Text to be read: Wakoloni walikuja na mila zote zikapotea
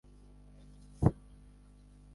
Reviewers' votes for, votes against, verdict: 0, 2, rejected